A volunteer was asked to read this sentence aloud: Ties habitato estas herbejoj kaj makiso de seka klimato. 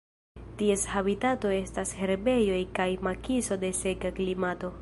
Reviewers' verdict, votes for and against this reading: accepted, 2, 0